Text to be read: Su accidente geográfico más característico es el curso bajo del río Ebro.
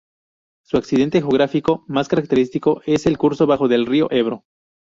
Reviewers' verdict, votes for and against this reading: rejected, 0, 2